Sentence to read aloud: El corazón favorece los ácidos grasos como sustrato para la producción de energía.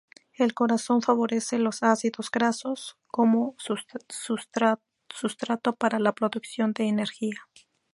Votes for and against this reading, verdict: 2, 0, accepted